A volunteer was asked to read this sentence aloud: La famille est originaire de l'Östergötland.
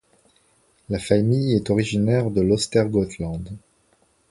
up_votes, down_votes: 2, 0